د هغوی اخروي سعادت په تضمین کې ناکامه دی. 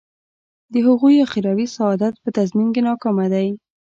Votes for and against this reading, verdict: 2, 0, accepted